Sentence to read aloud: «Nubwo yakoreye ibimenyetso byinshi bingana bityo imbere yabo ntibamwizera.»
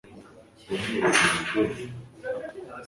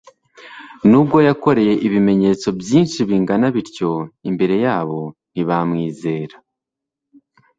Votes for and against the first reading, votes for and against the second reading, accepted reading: 0, 2, 3, 0, second